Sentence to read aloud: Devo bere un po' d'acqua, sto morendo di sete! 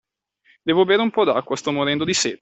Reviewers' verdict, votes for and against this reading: accepted, 2, 0